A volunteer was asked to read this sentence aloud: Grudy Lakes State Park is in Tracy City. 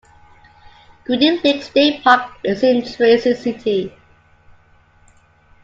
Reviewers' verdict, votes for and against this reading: rejected, 0, 2